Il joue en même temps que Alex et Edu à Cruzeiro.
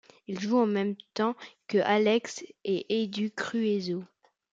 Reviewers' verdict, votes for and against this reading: rejected, 1, 2